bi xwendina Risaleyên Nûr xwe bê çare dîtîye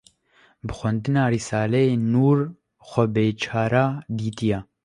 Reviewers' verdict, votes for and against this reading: rejected, 0, 2